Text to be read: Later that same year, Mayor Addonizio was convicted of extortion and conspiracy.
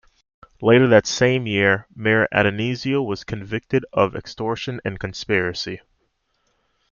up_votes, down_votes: 2, 0